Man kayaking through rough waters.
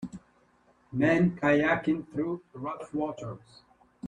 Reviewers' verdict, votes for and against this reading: rejected, 1, 2